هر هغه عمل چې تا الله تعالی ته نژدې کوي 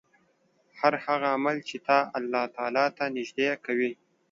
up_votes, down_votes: 2, 0